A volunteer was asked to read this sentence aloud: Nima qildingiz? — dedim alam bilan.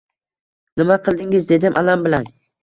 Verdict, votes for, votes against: accepted, 2, 0